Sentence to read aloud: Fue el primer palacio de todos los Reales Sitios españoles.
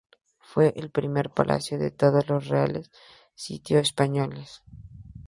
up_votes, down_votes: 2, 0